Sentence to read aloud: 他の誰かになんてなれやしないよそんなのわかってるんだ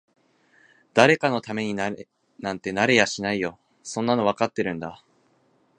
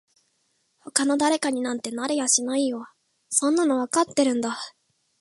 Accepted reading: second